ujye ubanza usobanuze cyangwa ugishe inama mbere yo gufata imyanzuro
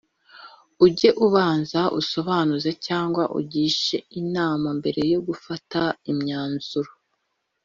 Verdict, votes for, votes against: accepted, 2, 0